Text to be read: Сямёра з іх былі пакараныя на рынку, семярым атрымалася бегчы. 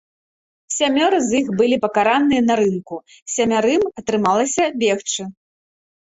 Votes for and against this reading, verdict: 0, 2, rejected